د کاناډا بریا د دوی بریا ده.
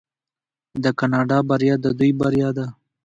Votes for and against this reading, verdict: 2, 0, accepted